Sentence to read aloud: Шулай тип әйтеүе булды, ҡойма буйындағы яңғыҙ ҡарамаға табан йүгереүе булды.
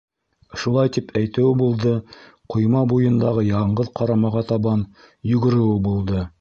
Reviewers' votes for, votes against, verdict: 1, 2, rejected